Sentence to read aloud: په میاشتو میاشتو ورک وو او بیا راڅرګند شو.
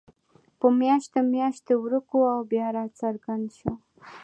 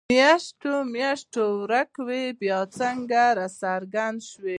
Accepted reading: second